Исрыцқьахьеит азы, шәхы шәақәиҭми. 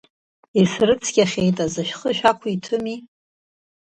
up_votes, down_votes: 2, 0